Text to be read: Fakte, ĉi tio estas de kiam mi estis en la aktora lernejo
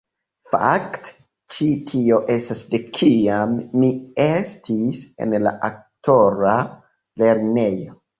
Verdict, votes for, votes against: rejected, 0, 2